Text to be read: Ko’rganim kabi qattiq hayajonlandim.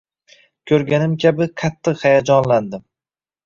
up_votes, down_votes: 2, 0